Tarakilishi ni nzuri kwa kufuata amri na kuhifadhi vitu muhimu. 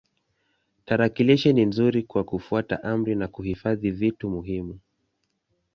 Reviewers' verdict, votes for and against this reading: accepted, 2, 1